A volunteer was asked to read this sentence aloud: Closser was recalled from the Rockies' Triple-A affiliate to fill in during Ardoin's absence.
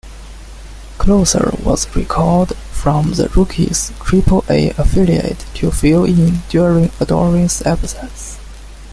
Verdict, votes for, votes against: accepted, 2, 1